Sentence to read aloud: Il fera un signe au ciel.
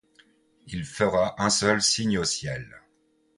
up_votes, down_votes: 1, 2